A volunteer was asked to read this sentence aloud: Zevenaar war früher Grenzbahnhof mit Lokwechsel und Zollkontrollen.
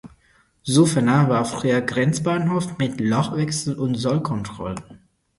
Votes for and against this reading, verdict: 0, 4, rejected